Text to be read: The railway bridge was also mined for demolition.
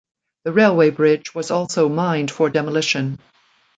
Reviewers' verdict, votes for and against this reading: accepted, 2, 0